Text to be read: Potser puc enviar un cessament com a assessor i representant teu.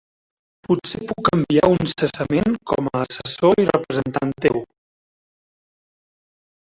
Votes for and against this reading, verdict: 0, 2, rejected